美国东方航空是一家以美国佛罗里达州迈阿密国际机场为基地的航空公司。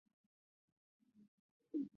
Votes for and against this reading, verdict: 0, 2, rejected